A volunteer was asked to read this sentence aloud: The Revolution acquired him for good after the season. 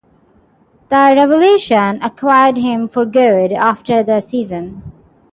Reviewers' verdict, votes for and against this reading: rejected, 0, 6